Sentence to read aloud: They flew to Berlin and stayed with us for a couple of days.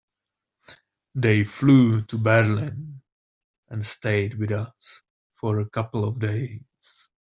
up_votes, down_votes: 2, 0